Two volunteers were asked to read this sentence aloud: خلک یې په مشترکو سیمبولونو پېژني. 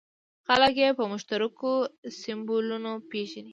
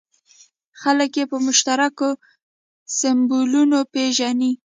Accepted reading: second